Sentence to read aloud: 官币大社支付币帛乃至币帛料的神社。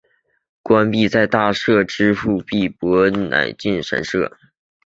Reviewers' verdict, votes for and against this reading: rejected, 0, 2